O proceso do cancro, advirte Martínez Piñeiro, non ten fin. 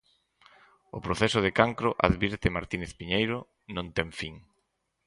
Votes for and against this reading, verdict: 0, 4, rejected